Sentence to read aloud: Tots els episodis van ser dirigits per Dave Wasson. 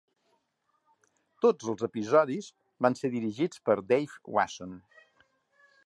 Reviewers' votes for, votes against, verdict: 2, 0, accepted